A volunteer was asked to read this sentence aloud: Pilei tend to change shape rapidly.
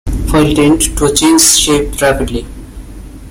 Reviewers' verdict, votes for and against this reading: rejected, 0, 2